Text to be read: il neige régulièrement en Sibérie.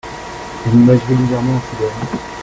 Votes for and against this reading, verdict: 1, 2, rejected